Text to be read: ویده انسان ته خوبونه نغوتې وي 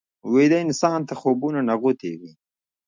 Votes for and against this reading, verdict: 1, 2, rejected